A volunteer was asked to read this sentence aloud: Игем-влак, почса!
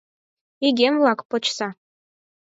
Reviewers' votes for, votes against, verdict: 4, 0, accepted